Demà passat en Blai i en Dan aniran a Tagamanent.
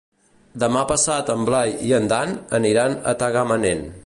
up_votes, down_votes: 2, 0